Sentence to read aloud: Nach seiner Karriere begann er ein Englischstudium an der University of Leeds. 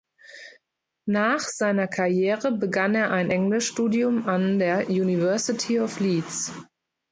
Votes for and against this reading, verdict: 2, 0, accepted